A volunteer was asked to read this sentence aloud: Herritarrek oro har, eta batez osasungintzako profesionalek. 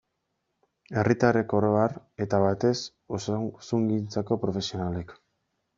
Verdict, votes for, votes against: rejected, 1, 2